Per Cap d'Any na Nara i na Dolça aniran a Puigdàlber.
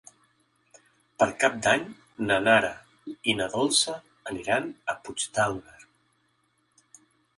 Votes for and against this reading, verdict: 2, 0, accepted